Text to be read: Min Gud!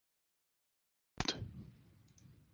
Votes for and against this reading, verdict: 0, 4, rejected